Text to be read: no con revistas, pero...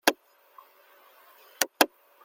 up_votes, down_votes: 0, 2